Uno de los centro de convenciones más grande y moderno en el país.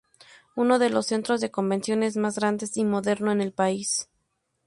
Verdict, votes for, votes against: rejected, 0, 2